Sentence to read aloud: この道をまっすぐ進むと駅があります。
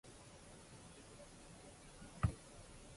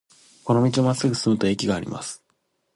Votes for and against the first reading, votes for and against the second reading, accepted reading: 0, 2, 2, 0, second